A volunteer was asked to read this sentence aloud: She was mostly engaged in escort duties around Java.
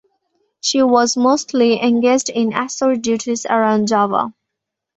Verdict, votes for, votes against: accepted, 2, 1